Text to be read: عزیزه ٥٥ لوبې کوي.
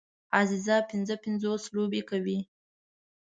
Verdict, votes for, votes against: rejected, 0, 2